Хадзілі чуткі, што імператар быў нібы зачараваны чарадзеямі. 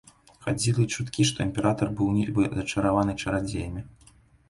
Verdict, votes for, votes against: rejected, 0, 3